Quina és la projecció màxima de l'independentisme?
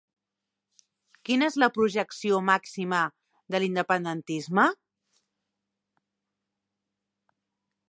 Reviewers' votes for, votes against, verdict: 3, 0, accepted